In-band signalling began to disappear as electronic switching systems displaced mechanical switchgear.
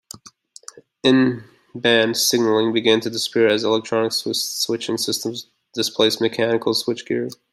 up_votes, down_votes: 0, 2